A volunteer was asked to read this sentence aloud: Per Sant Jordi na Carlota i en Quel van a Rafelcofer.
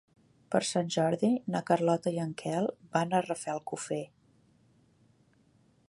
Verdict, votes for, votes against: accepted, 4, 0